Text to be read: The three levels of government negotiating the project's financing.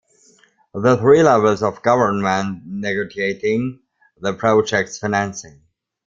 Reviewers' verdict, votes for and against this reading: rejected, 0, 2